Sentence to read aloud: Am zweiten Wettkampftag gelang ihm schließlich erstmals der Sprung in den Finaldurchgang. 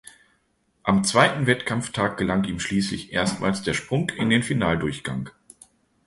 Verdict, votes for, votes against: accepted, 2, 0